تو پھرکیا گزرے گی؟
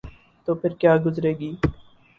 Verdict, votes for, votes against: accepted, 10, 0